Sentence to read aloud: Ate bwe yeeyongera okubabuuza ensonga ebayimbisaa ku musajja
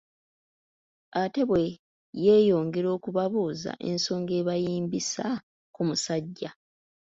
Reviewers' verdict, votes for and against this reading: rejected, 1, 2